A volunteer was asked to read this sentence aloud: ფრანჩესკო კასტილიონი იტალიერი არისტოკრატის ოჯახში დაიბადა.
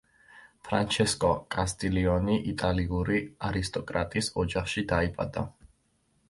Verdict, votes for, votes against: rejected, 0, 2